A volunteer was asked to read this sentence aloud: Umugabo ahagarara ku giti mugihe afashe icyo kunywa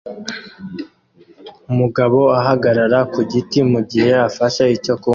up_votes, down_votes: 2, 0